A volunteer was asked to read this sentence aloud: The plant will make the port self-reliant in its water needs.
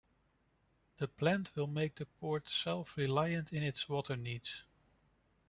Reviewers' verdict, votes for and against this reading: accepted, 2, 0